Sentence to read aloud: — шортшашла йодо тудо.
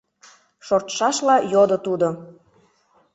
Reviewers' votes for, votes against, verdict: 2, 0, accepted